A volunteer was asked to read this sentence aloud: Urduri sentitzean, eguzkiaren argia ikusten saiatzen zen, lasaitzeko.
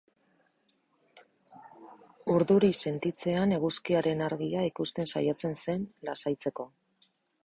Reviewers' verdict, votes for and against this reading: accepted, 6, 2